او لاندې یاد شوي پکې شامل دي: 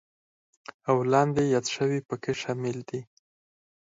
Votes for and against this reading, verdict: 4, 0, accepted